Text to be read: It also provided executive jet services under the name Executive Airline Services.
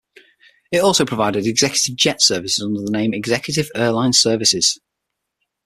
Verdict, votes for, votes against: accepted, 6, 3